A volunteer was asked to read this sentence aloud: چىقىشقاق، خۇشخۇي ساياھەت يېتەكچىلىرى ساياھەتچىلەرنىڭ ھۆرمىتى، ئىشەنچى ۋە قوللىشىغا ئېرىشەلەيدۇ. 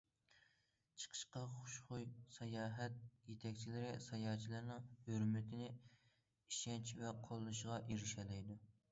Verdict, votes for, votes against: rejected, 1, 2